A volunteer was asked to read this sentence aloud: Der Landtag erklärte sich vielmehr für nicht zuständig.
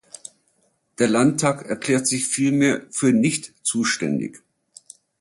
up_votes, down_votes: 1, 2